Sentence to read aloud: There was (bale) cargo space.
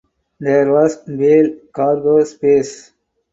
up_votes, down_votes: 4, 0